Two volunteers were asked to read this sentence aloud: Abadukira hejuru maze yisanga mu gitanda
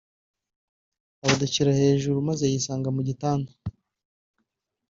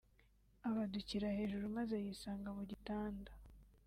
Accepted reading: second